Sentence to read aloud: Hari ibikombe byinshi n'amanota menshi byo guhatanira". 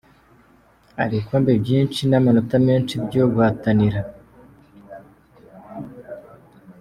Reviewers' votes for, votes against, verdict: 2, 0, accepted